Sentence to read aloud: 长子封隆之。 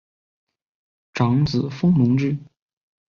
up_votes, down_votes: 2, 0